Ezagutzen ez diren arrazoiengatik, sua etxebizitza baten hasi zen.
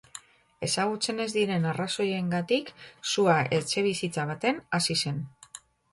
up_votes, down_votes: 2, 0